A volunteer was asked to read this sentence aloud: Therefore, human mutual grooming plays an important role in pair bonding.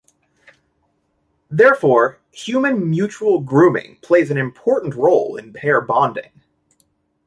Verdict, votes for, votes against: accepted, 2, 0